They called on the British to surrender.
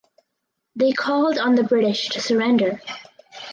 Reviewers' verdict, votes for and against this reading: accepted, 4, 0